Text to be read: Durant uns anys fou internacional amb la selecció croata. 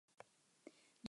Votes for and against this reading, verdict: 2, 4, rejected